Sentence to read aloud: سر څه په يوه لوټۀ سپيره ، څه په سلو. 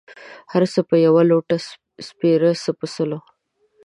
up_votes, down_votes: 2, 0